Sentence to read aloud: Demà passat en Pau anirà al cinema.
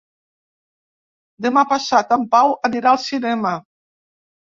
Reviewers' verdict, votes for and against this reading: accepted, 2, 0